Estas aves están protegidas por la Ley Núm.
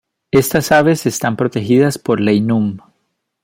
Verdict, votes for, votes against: rejected, 1, 2